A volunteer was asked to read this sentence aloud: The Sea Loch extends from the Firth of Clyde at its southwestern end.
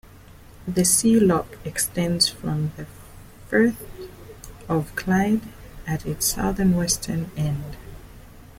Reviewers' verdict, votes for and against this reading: rejected, 1, 2